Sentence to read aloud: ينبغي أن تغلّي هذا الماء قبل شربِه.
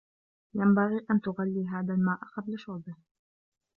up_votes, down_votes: 1, 2